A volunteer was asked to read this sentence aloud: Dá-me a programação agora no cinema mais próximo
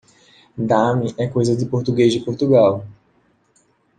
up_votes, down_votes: 0, 2